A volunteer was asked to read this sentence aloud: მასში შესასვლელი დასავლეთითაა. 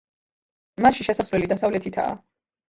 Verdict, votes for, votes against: rejected, 0, 2